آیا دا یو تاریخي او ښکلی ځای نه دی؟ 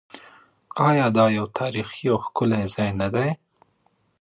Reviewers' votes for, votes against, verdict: 2, 0, accepted